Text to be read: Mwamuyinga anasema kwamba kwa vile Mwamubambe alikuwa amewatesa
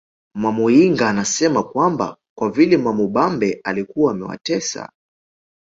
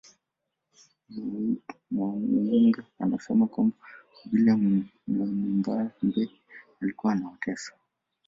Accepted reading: first